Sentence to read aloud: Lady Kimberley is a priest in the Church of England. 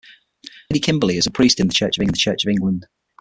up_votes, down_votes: 6, 0